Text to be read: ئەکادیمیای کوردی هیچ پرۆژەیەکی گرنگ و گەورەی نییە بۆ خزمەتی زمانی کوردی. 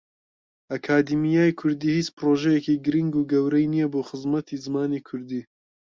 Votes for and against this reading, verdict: 2, 0, accepted